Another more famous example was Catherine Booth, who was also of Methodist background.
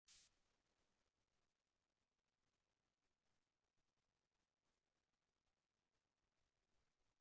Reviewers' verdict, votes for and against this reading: rejected, 0, 3